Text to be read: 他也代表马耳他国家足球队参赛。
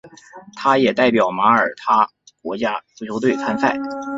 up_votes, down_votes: 2, 1